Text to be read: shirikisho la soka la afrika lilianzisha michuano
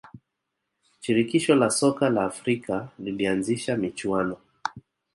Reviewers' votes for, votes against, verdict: 2, 0, accepted